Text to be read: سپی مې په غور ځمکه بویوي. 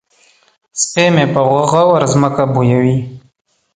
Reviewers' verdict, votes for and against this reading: accepted, 2, 0